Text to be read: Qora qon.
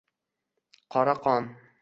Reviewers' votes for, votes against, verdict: 1, 2, rejected